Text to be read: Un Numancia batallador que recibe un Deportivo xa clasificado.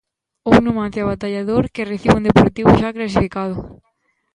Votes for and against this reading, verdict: 0, 2, rejected